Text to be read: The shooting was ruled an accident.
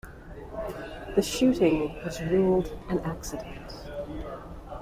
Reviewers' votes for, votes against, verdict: 2, 0, accepted